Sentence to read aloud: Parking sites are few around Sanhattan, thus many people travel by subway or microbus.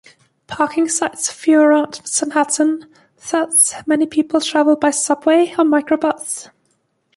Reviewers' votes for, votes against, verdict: 3, 2, accepted